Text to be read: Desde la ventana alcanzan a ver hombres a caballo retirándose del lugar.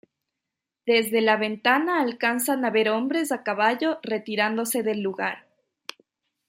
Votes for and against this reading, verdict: 1, 2, rejected